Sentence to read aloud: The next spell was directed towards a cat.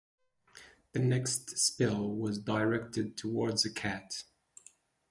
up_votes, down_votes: 6, 0